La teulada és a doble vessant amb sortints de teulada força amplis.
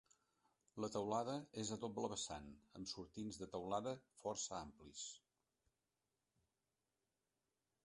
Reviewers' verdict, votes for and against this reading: rejected, 0, 2